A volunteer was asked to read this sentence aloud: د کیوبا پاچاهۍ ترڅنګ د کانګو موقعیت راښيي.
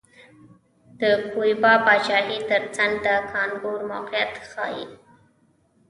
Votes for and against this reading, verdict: 0, 2, rejected